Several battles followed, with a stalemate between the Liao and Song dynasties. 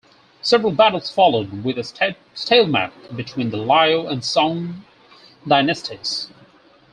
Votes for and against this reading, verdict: 2, 4, rejected